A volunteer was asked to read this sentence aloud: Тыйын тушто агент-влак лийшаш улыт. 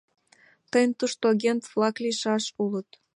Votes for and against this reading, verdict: 2, 0, accepted